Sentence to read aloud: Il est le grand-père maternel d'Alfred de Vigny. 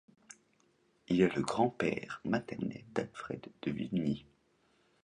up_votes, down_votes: 2, 0